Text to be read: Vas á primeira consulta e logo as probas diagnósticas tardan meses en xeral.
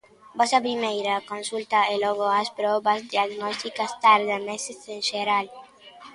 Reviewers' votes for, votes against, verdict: 3, 1, accepted